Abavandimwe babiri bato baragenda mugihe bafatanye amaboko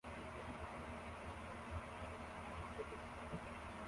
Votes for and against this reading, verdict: 0, 2, rejected